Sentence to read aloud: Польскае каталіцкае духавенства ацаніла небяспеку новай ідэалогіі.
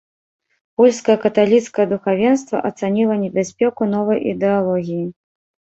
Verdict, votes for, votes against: rejected, 1, 2